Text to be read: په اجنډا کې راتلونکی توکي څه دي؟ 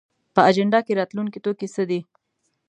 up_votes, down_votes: 2, 0